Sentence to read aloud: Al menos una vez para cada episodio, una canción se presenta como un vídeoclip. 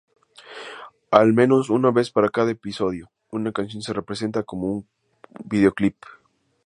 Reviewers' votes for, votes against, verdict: 4, 0, accepted